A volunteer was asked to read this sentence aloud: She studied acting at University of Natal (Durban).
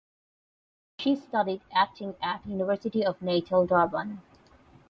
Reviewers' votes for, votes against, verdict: 8, 4, accepted